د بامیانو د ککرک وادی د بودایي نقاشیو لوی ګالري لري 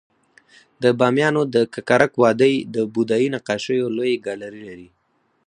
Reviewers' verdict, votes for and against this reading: accepted, 4, 2